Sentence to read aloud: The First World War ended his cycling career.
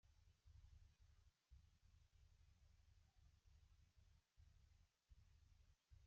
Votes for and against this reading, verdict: 0, 2, rejected